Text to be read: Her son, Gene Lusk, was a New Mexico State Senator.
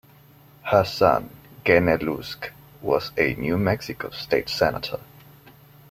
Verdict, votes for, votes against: rejected, 1, 2